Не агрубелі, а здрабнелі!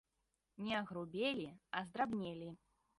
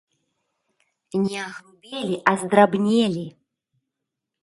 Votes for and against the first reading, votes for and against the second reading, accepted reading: 2, 0, 0, 2, first